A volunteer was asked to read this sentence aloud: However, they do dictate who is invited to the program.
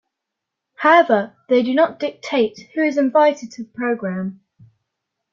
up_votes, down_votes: 0, 2